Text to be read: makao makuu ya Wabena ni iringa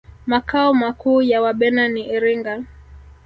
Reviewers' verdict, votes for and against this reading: rejected, 1, 2